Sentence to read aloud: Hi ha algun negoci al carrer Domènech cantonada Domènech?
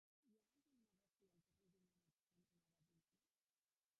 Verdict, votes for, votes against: rejected, 1, 2